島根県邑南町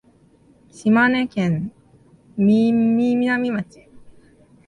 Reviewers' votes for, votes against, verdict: 0, 3, rejected